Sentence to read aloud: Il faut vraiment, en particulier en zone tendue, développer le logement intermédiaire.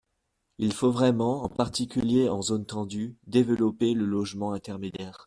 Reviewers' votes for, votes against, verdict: 2, 0, accepted